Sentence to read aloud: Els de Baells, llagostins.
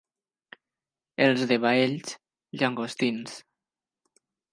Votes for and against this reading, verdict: 0, 2, rejected